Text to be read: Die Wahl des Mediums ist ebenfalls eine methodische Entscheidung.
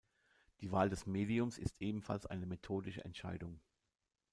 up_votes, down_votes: 2, 0